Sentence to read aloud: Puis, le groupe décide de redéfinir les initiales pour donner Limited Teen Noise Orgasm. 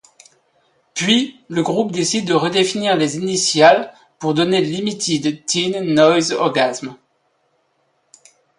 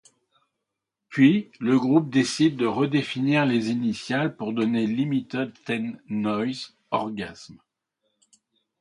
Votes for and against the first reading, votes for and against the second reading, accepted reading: 2, 0, 1, 2, first